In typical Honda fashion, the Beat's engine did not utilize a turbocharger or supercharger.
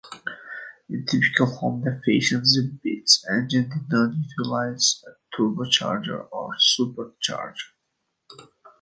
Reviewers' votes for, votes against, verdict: 2, 1, accepted